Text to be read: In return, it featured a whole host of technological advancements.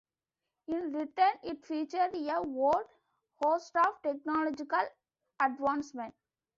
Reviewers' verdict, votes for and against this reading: rejected, 1, 2